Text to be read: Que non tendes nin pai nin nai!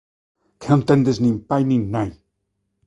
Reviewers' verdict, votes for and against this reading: rejected, 1, 2